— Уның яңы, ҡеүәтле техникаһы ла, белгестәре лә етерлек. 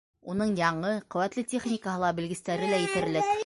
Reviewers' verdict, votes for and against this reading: rejected, 0, 2